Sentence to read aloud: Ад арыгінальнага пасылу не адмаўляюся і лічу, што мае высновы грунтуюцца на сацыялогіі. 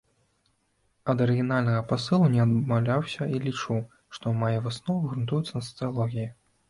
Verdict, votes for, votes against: rejected, 0, 2